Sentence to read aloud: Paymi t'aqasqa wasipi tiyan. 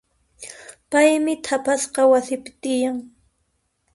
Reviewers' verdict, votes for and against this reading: accepted, 2, 0